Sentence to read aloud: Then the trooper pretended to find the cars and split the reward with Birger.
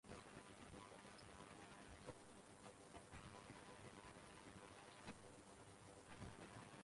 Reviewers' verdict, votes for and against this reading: rejected, 0, 4